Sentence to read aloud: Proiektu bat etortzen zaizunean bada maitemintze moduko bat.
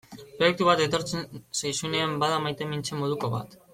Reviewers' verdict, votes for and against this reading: accepted, 2, 0